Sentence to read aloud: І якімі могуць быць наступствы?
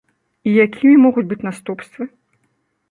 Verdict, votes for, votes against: rejected, 1, 2